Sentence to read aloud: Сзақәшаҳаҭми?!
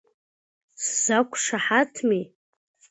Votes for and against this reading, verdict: 1, 2, rejected